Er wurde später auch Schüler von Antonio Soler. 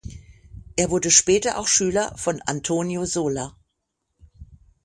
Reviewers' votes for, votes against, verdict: 6, 0, accepted